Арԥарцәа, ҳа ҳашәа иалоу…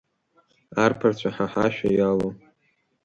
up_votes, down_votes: 2, 0